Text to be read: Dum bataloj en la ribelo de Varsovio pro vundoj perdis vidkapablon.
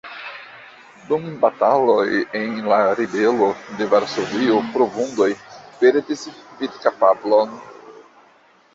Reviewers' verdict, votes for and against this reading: rejected, 1, 2